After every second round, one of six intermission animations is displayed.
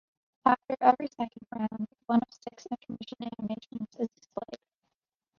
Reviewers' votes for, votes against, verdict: 1, 2, rejected